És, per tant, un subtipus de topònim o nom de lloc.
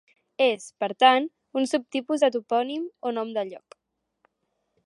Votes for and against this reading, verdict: 2, 0, accepted